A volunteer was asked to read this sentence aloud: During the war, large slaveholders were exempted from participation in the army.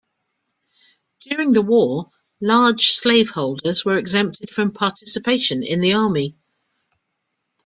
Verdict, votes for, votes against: accepted, 2, 0